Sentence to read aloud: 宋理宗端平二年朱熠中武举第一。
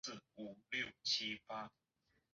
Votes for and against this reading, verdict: 1, 5, rejected